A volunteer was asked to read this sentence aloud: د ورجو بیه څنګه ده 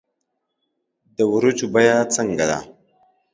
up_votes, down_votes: 2, 0